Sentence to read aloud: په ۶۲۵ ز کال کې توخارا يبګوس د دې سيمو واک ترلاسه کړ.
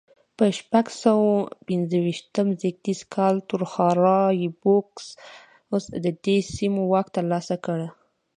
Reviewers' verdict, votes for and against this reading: rejected, 0, 2